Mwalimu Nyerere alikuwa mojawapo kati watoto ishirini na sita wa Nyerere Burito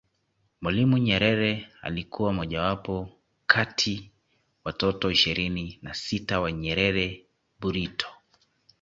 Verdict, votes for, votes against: accepted, 3, 0